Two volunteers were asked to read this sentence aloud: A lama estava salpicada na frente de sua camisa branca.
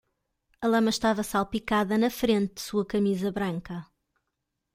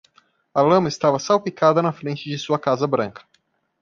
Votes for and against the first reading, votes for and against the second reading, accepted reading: 2, 0, 0, 2, first